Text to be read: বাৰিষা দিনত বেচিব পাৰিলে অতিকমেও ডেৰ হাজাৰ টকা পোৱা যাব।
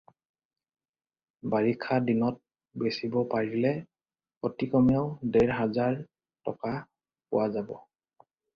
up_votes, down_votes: 4, 0